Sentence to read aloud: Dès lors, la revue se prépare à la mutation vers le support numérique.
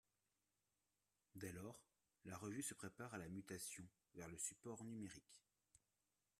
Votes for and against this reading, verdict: 1, 2, rejected